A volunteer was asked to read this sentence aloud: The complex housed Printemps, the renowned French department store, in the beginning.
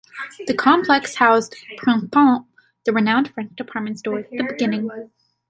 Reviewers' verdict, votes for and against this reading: rejected, 0, 2